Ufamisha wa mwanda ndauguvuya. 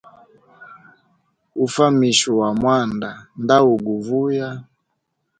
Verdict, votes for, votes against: accepted, 2, 0